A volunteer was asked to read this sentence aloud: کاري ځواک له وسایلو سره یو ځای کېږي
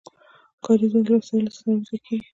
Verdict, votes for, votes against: rejected, 1, 2